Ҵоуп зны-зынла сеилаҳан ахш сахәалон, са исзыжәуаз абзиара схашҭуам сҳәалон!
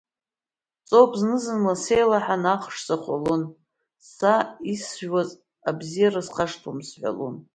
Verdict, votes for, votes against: accepted, 2, 1